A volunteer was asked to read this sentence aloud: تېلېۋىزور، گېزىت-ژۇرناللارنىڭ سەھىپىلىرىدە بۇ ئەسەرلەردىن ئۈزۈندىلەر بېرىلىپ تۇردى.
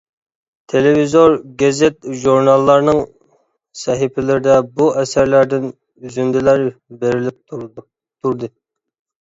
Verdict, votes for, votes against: rejected, 1, 2